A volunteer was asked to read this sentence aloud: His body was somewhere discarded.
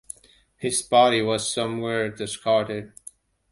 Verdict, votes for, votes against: accepted, 2, 0